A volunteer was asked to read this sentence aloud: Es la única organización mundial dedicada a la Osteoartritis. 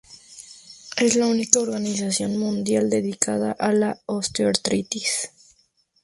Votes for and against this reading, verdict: 0, 2, rejected